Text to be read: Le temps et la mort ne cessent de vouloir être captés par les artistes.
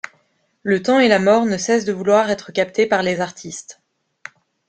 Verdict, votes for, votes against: accepted, 2, 0